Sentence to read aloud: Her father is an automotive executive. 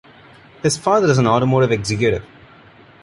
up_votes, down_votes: 0, 2